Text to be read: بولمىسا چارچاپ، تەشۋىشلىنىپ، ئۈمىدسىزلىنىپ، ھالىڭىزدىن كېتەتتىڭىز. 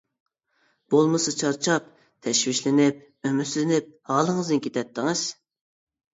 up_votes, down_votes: 1, 2